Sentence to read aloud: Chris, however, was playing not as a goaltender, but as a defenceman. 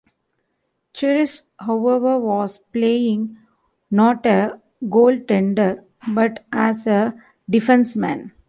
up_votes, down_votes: 0, 2